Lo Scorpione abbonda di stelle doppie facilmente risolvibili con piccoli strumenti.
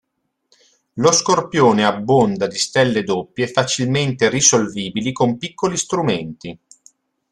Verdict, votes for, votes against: accepted, 3, 0